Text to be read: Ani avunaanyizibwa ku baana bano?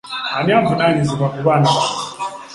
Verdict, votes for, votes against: accepted, 2, 1